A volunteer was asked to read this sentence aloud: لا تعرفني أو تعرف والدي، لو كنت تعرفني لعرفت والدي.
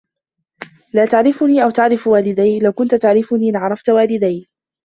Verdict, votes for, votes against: rejected, 0, 2